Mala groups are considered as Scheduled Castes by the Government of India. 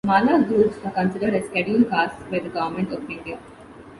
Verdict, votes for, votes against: rejected, 1, 2